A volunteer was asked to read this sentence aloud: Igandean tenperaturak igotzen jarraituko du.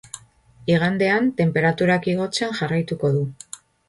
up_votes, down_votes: 3, 1